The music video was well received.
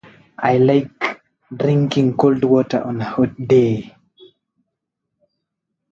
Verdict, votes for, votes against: rejected, 1, 2